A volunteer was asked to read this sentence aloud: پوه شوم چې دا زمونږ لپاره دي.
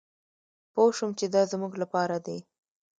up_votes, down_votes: 2, 0